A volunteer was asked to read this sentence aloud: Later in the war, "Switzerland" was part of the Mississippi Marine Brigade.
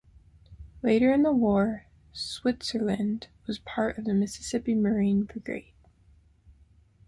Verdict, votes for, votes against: accepted, 2, 0